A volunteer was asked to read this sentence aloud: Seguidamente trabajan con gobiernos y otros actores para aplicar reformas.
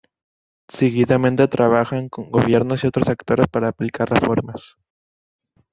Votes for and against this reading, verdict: 1, 2, rejected